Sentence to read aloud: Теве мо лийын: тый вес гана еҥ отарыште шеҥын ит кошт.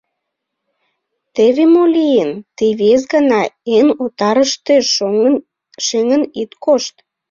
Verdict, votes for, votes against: rejected, 0, 2